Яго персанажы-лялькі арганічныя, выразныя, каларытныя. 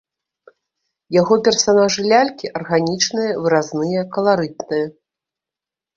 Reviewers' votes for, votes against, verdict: 1, 2, rejected